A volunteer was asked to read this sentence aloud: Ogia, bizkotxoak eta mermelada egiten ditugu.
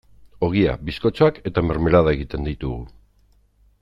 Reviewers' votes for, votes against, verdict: 2, 0, accepted